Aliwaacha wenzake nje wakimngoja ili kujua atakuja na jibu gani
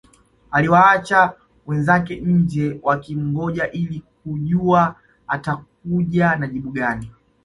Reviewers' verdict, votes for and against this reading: accepted, 2, 0